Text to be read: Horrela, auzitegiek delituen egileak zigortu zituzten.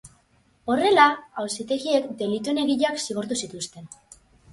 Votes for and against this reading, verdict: 8, 0, accepted